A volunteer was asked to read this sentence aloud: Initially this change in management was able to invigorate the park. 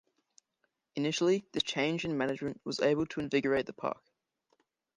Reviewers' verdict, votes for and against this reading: rejected, 1, 2